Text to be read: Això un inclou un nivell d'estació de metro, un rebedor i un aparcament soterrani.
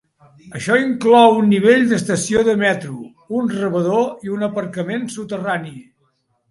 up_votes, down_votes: 1, 2